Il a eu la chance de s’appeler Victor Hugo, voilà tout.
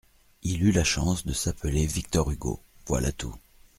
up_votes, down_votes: 1, 2